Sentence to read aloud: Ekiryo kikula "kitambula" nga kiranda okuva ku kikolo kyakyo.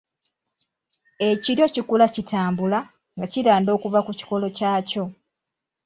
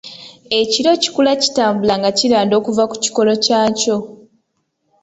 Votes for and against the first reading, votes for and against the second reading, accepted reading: 2, 1, 1, 2, first